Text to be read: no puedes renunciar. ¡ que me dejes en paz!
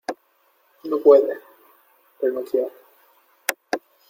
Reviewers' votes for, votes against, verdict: 0, 2, rejected